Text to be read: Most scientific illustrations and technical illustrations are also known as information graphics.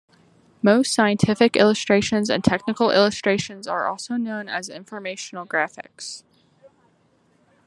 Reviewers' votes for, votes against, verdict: 0, 2, rejected